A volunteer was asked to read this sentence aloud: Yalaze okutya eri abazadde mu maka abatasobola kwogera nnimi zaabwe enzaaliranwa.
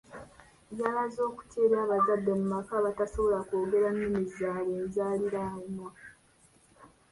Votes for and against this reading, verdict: 0, 2, rejected